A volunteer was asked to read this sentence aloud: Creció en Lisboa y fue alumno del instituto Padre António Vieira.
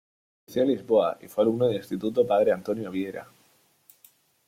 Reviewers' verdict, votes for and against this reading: rejected, 1, 2